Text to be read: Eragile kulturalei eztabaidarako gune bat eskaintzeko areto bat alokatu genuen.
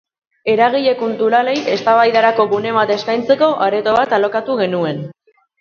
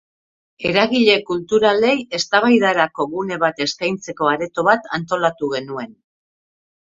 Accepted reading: first